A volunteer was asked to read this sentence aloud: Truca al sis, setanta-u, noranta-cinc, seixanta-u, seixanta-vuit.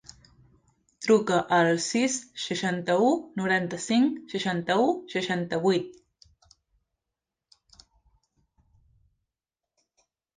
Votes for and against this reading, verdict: 0, 2, rejected